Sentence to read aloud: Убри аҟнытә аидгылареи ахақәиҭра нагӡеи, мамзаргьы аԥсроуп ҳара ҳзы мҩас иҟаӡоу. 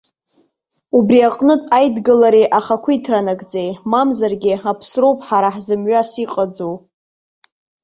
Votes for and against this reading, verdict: 0, 2, rejected